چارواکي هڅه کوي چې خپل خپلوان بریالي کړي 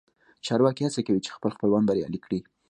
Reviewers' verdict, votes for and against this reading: accepted, 2, 0